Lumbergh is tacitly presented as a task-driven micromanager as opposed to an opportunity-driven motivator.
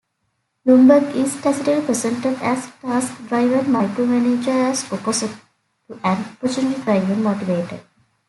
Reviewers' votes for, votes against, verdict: 1, 2, rejected